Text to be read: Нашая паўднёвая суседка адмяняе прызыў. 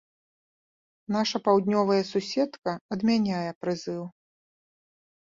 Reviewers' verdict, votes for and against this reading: accepted, 2, 0